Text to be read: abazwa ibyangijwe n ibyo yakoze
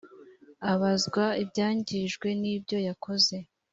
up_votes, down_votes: 3, 0